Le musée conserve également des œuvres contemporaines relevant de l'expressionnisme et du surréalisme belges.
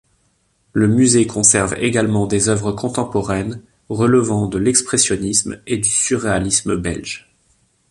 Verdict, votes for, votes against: accepted, 2, 0